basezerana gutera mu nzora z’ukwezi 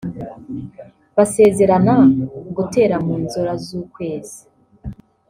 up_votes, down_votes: 0, 2